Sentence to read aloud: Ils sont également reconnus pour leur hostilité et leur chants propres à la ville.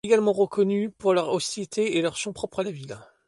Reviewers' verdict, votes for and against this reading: rejected, 1, 2